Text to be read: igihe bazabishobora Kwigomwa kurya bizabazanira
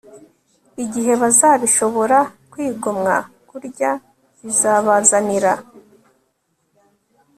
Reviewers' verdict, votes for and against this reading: accepted, 2, 0